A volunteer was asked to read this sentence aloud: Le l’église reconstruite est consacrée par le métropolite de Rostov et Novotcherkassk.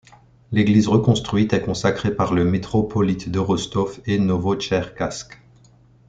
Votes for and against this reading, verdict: 1, 2, rejected